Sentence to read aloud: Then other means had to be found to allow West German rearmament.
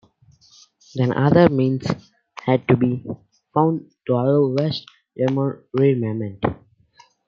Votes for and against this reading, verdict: 0, 2, rejected